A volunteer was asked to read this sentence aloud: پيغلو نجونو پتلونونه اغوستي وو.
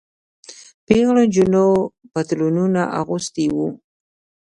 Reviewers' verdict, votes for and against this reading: rejected, 0, 2